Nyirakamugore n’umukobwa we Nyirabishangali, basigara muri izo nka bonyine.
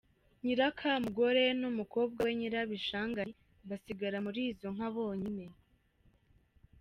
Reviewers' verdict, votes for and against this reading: accepted, 2, 0